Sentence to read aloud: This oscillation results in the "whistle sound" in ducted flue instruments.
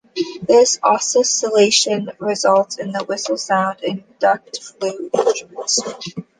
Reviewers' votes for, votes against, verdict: 0, 2, rejected